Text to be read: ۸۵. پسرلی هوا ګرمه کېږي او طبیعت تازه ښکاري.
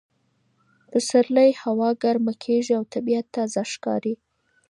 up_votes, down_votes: 0, 2